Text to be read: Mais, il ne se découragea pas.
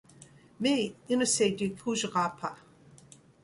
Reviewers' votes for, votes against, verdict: 1, 2, rejected